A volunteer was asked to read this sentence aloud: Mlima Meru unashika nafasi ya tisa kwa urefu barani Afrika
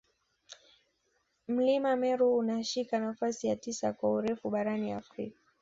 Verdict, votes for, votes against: accepted, 2, 0